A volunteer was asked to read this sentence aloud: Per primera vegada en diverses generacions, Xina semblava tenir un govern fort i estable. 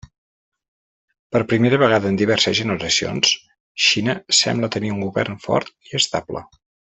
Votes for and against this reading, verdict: 1, 2, rejected